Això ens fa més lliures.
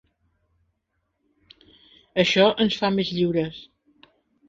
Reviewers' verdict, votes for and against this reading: accepted, 2, 0